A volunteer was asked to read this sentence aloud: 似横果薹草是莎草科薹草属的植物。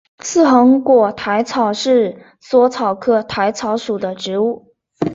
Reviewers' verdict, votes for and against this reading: rejected, 0, 2